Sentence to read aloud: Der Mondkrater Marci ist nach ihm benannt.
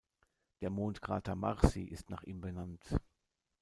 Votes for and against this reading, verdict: 2, 0, accepted